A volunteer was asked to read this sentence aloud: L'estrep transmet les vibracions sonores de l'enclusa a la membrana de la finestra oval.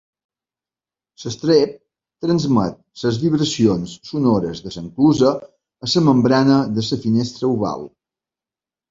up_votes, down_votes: 1, 3